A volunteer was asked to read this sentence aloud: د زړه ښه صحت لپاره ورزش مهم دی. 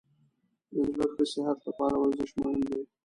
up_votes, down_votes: 1, 2